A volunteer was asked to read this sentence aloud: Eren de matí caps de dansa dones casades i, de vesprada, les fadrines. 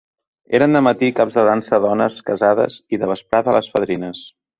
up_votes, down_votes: 0, 2